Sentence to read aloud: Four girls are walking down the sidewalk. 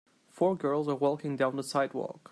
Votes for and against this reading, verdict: 2, 0, accepted